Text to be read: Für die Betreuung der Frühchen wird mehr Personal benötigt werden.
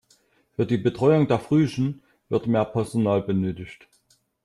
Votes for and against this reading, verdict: 1, 2, rejected